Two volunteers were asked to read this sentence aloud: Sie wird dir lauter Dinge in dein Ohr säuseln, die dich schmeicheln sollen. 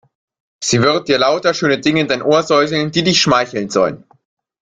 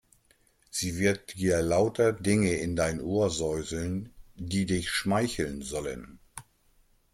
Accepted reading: second